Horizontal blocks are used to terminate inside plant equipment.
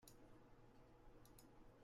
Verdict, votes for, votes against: rejected, 0, 2